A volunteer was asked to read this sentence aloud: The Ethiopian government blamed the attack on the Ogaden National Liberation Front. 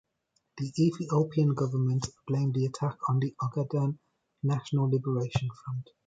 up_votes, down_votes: 1, 2